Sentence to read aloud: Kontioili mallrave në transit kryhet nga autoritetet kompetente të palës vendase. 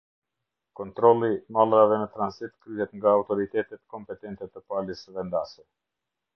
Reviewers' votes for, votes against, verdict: 2, 0, accepted